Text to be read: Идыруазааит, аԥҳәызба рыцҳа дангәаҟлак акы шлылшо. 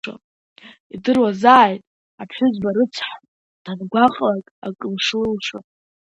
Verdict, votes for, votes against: rejected, 0, 2